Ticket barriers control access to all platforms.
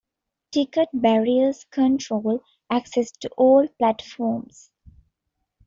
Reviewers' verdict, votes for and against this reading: accepted, 2, 0